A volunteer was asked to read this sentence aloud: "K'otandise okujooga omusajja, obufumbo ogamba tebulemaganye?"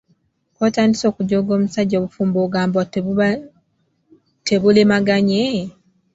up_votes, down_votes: 2, 0